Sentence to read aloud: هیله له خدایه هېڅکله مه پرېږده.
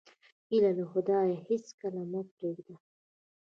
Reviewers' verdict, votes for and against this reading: rejected, 0, 2